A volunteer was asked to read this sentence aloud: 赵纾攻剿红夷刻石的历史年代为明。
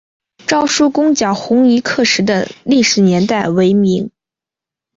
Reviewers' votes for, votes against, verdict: 4, 0, accepted